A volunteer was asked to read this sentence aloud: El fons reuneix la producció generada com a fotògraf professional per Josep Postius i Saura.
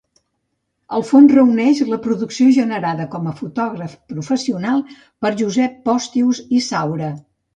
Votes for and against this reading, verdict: 2, 0, accepted